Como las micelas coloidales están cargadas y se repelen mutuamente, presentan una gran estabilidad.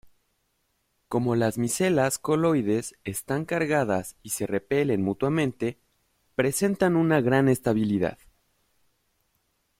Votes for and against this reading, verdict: 0, 2, rejected